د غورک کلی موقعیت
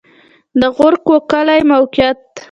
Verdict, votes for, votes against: accepted, 2, 0